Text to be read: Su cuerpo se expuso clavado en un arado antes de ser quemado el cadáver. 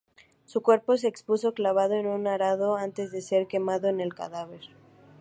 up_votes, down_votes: 0, 2